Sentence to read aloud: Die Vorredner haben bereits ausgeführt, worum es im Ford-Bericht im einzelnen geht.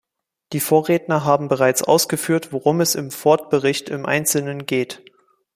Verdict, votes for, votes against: accepted, 2, 1